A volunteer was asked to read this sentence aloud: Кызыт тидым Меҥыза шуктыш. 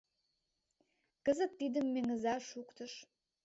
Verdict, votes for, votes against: accepted, 2, 0